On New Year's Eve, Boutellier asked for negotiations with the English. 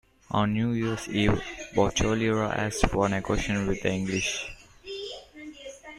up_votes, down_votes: 0, 2